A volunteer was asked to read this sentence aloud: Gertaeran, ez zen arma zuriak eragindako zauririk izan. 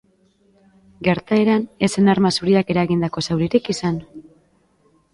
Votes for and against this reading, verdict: 3, 2, accepted